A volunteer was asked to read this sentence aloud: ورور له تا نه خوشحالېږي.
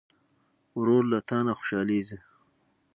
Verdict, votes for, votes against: accepted, 6, 0